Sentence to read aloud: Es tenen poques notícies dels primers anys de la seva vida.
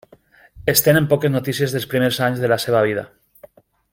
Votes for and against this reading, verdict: 3, 0, accepted